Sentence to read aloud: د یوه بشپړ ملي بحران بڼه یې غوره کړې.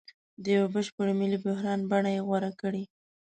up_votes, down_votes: 3, 0